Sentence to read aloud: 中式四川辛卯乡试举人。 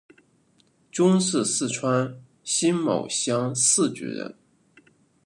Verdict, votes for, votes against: rejected, 0, 2